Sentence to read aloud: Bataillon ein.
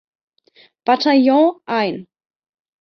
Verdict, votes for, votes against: accepted, 2, 0